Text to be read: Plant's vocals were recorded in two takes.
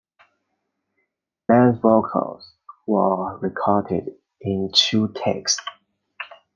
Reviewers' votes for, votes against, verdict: 2, 0, accepted